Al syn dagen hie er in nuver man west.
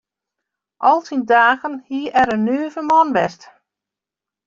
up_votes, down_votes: 0, 2